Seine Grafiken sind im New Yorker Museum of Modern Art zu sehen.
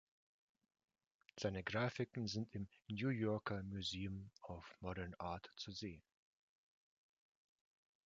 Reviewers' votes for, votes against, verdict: 2, 0, accepted